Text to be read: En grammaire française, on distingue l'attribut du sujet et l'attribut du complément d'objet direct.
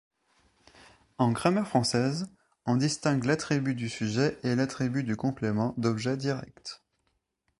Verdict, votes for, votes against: accepted, 2, 0